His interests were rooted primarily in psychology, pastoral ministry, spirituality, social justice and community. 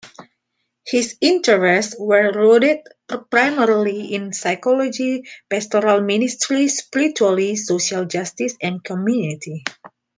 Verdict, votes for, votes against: accepted, 2, 0